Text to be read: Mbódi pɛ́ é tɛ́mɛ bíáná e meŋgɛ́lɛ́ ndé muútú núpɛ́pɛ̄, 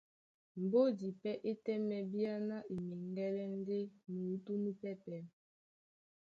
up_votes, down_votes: 2, 0